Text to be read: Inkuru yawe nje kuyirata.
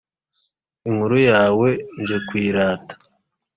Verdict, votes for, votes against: accepted, 2, 0